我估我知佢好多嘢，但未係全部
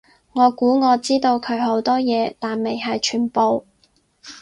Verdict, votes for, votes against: accepted, 6, 4